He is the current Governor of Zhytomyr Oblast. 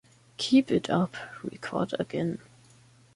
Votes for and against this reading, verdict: 0, 2, rejected